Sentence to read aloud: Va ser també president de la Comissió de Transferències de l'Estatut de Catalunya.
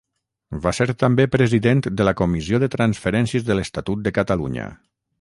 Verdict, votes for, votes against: rejected, 3, 3